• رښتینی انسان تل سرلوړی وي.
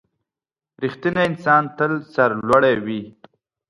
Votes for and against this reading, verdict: 3, 0, accepted